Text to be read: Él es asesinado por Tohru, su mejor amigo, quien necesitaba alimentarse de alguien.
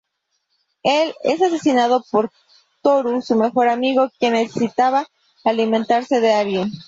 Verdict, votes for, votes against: accepted, 2, 0